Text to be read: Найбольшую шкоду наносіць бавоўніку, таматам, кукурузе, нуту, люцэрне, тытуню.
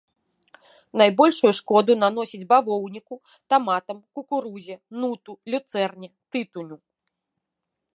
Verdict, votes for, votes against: accepted, 2, 1